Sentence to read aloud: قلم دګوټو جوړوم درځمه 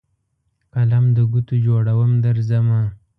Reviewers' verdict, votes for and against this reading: accepted, 2, 0